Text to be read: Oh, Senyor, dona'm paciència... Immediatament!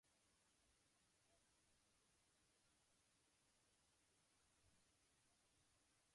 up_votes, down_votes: 1, 2